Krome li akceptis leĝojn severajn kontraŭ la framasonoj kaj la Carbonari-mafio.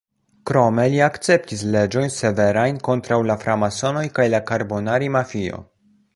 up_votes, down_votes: 1, 2